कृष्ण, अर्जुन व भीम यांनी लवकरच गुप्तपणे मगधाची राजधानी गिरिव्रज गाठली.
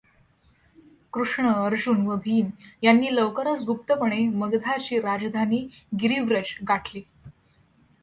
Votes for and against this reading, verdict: 2, 0, accepted